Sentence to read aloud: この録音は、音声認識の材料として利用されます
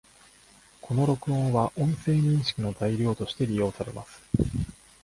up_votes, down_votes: 2, 1